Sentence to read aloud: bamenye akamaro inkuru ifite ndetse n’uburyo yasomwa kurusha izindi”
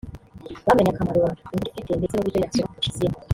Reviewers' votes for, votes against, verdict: 1, 2, rejected